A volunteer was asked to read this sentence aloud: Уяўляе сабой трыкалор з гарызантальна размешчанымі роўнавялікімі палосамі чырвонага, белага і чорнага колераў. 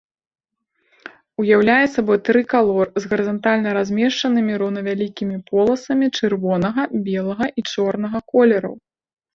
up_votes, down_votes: 1, 2